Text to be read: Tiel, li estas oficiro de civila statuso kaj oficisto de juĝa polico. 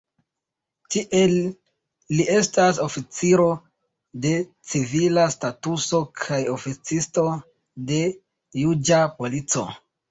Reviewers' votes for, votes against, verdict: 1, 2, rejected